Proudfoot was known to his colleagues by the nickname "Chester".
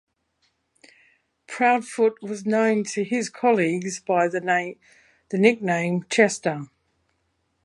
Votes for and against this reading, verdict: 0, 2, rejected